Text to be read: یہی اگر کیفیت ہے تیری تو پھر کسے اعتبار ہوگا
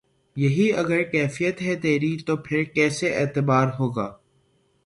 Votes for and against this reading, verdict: 3, 6, rejected